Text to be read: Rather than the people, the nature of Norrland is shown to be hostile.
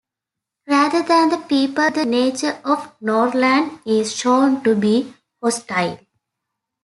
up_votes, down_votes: 2, 0